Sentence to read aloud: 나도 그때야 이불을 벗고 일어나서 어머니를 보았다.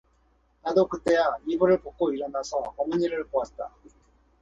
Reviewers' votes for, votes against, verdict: 4, 0, accepted